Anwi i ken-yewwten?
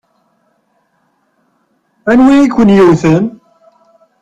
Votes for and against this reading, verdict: 6, 0, accepted